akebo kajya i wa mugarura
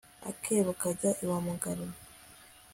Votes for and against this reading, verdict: 2, 0, accepted